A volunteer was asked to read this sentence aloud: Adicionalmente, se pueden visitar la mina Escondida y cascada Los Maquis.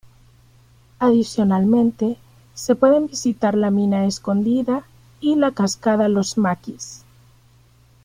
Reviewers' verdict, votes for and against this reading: rejected, 0, 2